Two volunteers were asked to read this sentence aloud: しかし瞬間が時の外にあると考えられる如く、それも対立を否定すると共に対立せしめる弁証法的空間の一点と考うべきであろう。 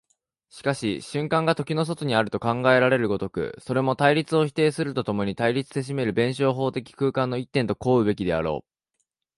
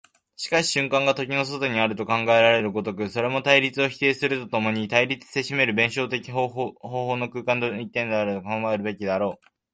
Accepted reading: first